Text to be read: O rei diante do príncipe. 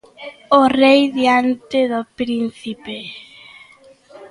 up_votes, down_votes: 2, 0